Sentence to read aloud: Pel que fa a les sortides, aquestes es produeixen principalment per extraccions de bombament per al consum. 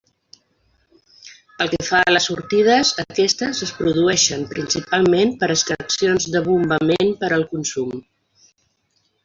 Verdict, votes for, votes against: accepted, 2, 1